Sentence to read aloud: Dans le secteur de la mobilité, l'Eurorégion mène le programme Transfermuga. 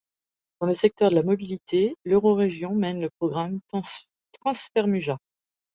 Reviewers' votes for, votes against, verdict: 0, 2, rejected